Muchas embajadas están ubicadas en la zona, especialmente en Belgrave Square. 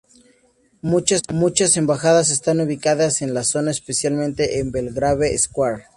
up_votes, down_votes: 0, 2